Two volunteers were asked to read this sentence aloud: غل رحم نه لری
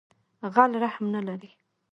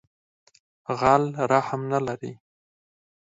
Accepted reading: second